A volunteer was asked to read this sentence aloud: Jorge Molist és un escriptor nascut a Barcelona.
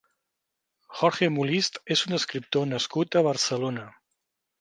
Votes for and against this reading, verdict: 3, 0, accepted